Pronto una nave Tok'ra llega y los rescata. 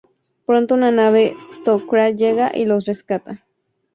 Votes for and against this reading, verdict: 2, 0, accepted